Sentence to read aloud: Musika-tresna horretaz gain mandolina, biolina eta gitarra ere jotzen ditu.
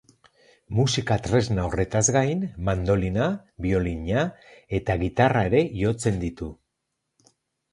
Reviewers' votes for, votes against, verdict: 2, 0, accepted